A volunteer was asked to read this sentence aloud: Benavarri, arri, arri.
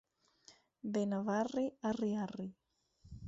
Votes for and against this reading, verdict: 4, 0, accepted